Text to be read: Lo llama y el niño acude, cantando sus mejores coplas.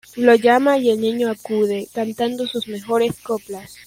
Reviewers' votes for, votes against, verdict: 2, 0, accepted